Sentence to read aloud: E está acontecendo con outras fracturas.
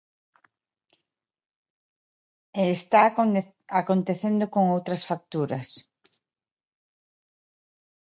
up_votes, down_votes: 0, 2